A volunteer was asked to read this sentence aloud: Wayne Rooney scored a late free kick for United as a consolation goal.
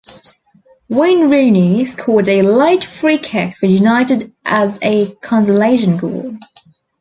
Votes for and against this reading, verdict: 1, 2, rejected